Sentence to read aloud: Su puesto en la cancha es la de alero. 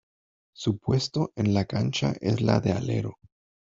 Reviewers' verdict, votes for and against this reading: accepted, 2, 0